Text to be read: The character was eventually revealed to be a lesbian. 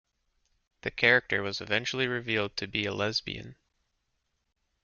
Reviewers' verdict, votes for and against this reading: accepted, 2, 0